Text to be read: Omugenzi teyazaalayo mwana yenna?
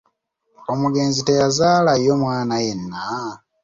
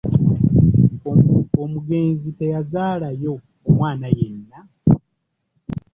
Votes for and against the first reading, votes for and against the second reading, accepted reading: 2, 0, 0, 2, first